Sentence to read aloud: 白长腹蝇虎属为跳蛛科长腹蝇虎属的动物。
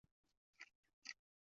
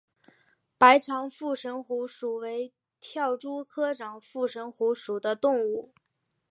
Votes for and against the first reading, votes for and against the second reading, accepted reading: 0, 2, 4, 0, second